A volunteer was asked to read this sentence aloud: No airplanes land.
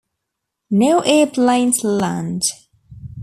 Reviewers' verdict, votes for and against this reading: accepted, 2, 0